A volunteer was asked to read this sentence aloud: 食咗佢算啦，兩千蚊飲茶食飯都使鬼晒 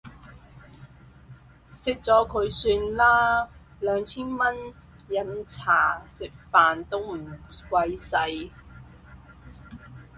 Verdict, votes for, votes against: rejected, 0, 4